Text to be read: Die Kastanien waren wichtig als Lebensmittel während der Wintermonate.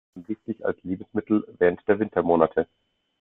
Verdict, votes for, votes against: rejected, 0, 2